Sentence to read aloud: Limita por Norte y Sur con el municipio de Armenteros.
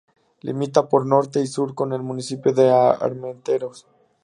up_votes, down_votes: 2, 0